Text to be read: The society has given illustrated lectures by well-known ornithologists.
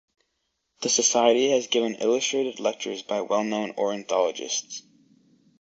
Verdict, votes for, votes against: rejected, 2, 2